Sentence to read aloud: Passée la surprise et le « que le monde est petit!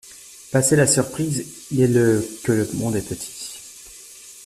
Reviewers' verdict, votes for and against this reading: accepted, 2, 1